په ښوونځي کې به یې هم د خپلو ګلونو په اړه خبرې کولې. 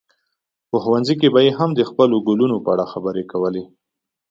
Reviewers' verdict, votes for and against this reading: accepted, 2, 0